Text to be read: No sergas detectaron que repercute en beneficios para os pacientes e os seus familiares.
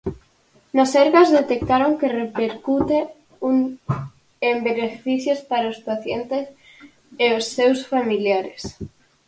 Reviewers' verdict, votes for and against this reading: rejected, 0, 4